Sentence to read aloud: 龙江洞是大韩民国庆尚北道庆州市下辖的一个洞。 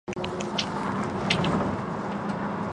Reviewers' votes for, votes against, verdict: 2, 4, rejected